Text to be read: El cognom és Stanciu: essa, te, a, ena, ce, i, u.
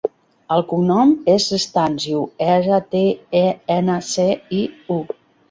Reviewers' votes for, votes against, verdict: 1, 2, rejected